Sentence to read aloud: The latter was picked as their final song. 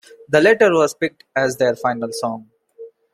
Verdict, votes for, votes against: accepted, 2, 0